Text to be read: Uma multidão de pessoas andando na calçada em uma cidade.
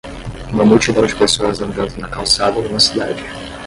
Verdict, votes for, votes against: rejected, 5, 5